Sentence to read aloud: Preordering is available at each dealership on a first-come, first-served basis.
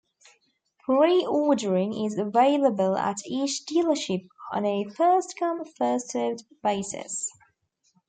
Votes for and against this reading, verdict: 1, 2, rejected